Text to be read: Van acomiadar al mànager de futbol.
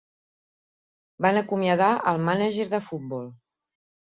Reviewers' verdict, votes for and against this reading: accepted, 4, 0